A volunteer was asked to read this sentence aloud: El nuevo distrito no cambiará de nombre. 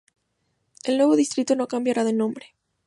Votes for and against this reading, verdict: 2, 0, accepted